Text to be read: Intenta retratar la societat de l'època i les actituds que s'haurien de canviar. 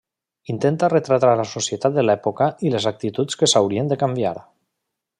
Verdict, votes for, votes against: accepted, 3, 1